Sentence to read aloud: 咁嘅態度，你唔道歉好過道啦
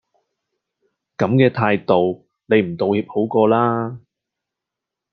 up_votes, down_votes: 2, 0